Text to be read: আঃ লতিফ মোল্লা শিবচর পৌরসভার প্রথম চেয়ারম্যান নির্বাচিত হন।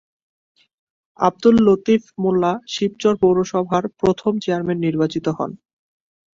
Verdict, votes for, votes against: accepted, 2, 1